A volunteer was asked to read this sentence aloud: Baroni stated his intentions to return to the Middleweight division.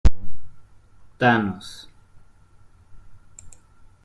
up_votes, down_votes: 0, 2